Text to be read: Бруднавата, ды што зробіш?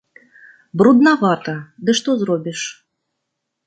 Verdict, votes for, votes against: accepted, 2, 0